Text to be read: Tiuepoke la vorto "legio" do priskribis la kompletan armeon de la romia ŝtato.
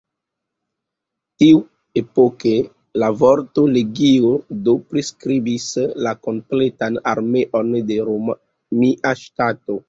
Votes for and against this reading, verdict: 1, 2, rejected